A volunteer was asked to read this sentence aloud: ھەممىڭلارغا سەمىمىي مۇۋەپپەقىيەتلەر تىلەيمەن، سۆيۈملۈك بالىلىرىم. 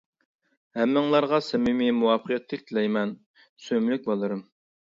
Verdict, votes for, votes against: rejected, 0, 2